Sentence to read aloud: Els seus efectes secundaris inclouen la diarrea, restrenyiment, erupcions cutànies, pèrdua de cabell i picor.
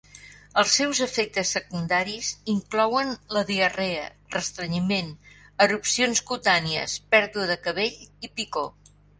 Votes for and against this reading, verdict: 4, 0, accepted